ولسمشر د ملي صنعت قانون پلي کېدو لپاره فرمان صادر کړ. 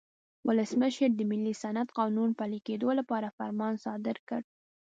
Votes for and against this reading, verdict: 2, 0, accepted